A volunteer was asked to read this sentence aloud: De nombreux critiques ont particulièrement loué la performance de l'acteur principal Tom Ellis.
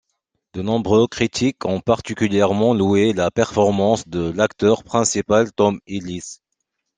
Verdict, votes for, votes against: accepted, 2, 0